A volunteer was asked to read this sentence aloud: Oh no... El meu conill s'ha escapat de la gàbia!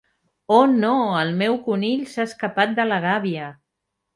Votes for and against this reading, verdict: 4, 0, accepted